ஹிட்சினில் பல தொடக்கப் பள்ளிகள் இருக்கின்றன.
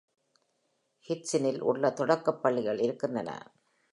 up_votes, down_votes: 2, 0